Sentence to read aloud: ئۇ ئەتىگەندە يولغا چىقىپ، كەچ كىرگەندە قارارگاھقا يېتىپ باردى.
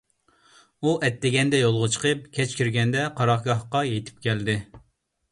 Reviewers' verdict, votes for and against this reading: rejected, 0, 2